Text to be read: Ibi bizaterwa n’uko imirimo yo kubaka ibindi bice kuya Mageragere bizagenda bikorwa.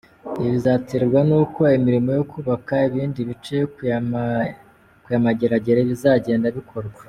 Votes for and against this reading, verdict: 0, 2, rejected